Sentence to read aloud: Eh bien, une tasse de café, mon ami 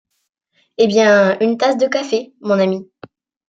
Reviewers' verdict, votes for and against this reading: accepted, 2, 0